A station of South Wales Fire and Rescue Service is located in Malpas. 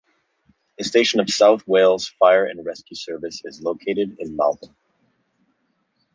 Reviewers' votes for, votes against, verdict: 0, 2, rejected